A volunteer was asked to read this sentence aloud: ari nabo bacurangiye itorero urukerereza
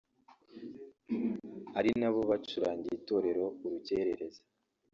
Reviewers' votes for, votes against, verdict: 1, 2, rejected